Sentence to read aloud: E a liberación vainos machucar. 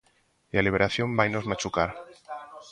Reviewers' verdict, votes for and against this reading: rejected, 1, 2